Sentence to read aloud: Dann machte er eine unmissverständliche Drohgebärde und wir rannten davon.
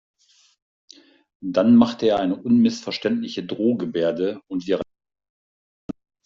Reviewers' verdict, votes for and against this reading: rejected, 0, 2